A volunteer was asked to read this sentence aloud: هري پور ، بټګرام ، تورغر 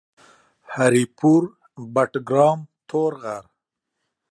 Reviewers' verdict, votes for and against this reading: accepted, 2, 0